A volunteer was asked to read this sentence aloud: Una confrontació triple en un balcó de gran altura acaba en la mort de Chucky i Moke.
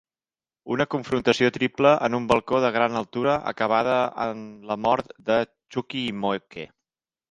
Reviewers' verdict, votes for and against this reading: rejected, 1, 2